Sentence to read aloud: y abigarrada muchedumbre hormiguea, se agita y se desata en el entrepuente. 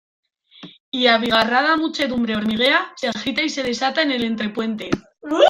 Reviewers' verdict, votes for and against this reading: rejected, 0, 2